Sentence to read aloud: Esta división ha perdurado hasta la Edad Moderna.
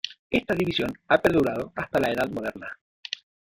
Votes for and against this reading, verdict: 0, 2, rejected